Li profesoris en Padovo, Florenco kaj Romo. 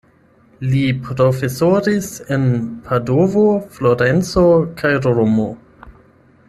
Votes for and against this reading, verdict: 8, 0, accepted